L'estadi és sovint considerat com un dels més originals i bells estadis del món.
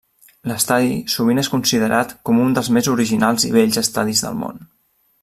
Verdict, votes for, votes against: rejected, 1, 2